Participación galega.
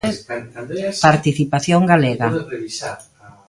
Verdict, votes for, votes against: rejected, 1, 2